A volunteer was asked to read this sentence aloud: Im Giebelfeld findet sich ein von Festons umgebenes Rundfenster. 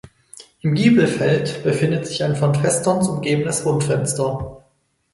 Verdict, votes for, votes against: rejected, 2, 4